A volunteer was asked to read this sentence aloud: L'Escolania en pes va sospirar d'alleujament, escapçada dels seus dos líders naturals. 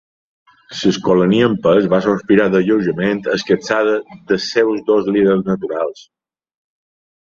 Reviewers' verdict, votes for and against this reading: accepted, 2, 1